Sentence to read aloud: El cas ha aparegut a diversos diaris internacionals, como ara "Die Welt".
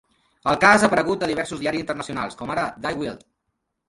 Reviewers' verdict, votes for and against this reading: rejected, 0, 2